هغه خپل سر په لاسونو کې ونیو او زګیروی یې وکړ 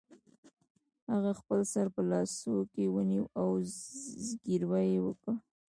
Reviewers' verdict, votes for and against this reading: rejected, 0, 2